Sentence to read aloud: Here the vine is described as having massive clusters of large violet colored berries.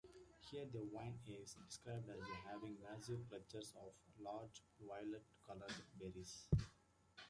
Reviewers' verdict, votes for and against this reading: rejected, 0, 2